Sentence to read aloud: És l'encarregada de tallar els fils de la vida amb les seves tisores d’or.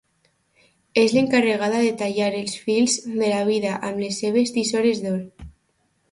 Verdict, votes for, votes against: accepted, 2, 0